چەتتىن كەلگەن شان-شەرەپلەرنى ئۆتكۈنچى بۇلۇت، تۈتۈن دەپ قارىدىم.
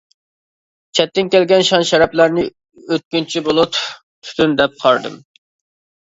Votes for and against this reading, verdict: 2, 0, accepted